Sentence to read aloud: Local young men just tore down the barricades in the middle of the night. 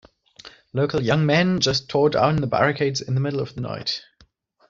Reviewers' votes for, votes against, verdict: 2, 0, accepted